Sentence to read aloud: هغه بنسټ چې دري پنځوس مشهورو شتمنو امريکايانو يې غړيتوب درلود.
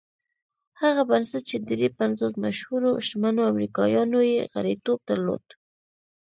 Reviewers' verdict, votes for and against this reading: accepted, 2, 1